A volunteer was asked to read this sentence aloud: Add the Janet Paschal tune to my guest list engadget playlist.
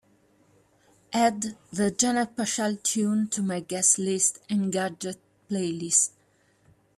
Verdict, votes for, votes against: accepted, 2, 1